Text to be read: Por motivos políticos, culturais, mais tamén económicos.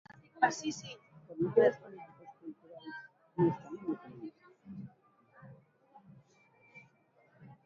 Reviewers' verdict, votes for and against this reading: rejected, 0, 2